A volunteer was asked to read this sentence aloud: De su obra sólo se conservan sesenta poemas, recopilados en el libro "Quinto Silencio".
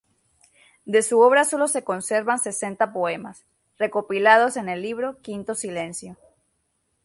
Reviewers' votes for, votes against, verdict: 6, 0, accepted